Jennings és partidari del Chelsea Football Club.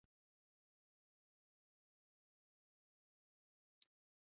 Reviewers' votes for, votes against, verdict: 0, 2, rejected